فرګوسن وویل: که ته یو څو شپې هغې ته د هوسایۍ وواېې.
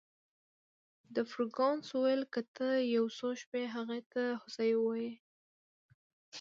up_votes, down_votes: 0, 2